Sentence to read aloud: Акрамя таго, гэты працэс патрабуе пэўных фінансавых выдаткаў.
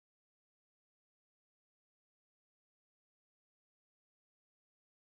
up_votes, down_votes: 0, 2